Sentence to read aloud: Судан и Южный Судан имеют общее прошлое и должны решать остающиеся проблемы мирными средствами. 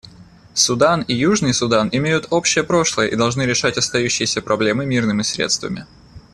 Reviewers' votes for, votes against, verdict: 2, 0, accepted